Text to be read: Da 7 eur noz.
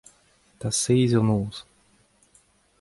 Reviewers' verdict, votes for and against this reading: rejected, 0, 2